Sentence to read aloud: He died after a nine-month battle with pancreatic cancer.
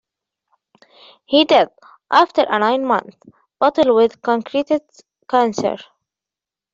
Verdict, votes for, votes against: rejected, 0, 2